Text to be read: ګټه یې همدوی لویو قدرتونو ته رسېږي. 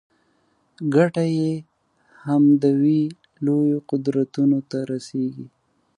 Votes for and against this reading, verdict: 1, 2, rejected